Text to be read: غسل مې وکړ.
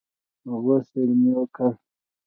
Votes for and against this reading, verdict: 2, 0, accepted